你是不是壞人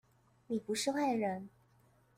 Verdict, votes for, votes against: rejected, 0, 2